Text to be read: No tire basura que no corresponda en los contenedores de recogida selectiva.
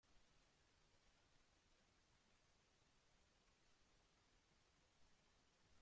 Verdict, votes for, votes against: rejected, 0, 2